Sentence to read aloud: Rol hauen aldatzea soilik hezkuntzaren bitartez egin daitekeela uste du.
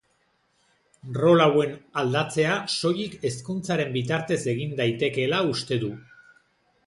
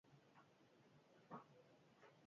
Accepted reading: first